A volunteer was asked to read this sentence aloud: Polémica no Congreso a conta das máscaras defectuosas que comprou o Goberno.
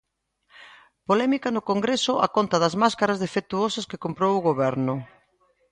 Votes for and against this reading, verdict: 2, 0, accepted